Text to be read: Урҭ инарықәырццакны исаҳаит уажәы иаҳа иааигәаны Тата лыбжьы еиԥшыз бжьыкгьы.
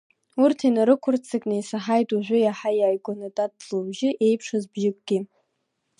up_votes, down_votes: 0, 2